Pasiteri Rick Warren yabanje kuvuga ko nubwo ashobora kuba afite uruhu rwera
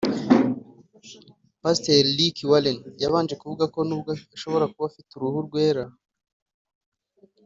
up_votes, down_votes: 3, 0